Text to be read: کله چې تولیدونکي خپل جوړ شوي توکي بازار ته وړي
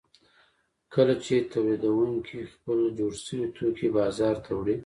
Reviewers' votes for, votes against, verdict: 2, 0, accepted